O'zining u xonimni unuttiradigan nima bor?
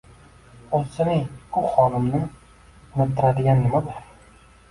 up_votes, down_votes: 2, 1